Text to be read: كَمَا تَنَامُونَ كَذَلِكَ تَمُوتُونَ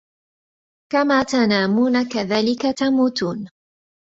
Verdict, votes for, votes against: accepted, 2, 1